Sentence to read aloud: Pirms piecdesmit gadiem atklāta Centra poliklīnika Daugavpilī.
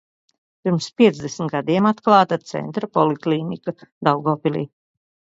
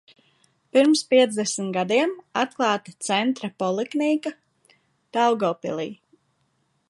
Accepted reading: first